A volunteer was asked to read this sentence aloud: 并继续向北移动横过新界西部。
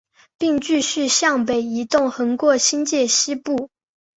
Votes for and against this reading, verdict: 8, 0, accepted